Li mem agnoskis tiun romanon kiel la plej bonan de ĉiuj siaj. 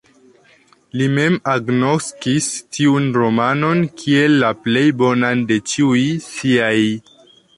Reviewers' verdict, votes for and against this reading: accepted, 2, 0